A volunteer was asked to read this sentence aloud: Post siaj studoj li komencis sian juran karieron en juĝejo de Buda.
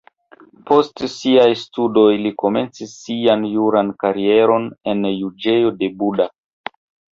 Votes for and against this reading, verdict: 2, 0, accepted